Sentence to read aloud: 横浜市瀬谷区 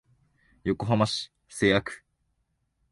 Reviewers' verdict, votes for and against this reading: accepted, 2, 1